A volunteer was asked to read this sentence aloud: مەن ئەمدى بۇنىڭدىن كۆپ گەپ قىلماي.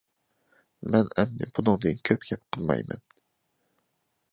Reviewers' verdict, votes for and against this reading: accepted, 2, 1